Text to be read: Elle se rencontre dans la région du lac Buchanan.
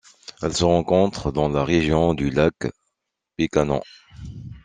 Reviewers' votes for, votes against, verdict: 0, 2, rejected